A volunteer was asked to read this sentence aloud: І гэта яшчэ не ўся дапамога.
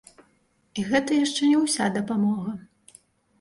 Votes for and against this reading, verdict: 1, 2, rejected